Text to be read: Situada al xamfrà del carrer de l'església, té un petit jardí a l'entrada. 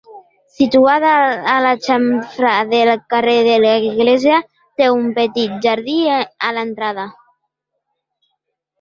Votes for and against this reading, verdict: 0, 2, rejected